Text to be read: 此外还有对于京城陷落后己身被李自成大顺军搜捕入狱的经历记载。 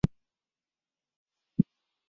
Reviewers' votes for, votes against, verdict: 1, 2, rejected